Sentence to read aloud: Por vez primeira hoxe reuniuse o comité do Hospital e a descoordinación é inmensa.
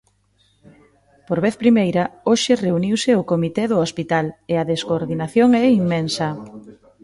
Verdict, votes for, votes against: rejected, 1, 2